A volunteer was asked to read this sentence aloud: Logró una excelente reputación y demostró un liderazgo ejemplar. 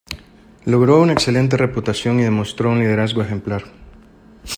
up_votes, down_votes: 2, 0